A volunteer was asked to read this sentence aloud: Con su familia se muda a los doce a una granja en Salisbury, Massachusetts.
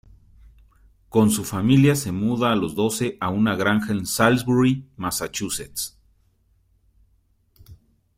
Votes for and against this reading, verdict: 2, 0, accepted